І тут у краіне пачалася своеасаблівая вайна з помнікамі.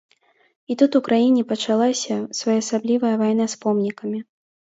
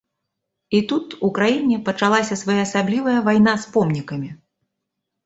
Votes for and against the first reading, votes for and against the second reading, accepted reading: 2, 0, 1, 2, first